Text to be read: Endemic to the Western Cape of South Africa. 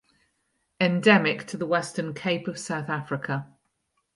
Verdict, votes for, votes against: accepted, 4, 0